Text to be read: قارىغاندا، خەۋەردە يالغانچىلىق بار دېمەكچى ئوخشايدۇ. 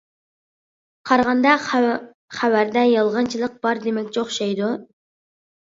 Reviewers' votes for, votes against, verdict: 1, 2, rejected